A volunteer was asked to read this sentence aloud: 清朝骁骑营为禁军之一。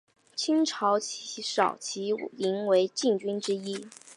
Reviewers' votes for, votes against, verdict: 1, 2, rejected